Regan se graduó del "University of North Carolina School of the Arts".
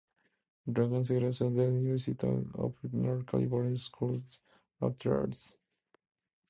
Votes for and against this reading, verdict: 2, 0, accepted